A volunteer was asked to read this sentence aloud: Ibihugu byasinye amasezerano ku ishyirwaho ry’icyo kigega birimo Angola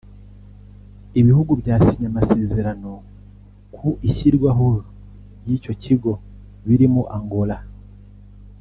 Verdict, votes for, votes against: rejected, 1, 2